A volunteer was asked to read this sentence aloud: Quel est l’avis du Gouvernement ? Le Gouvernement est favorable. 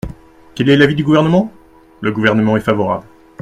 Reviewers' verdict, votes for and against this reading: accepted, 2, 0